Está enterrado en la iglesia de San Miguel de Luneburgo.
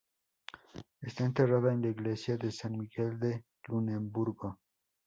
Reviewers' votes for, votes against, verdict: 0, 2, rejected